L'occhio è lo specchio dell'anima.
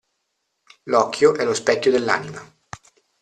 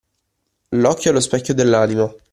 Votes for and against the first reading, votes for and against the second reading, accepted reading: 2, 0, 1, 2, first